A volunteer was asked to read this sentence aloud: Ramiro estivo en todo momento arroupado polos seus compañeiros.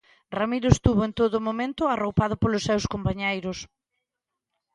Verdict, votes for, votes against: rejected, 1, 2